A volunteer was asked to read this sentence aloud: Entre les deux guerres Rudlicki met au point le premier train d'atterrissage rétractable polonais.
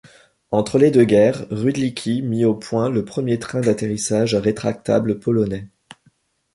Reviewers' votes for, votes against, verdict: 0, 2, rejected